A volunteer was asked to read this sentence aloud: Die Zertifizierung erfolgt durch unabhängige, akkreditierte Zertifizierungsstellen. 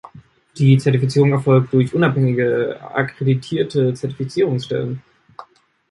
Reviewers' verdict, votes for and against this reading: accepted, 3, 0